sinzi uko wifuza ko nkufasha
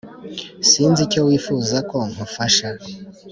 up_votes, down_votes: 1, 2